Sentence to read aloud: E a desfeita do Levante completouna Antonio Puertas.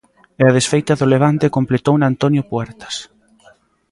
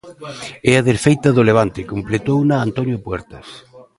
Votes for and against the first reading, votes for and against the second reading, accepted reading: 2, 0, 1, 2, first